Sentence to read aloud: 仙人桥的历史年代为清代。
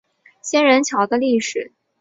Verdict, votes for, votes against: rejected, 0, 2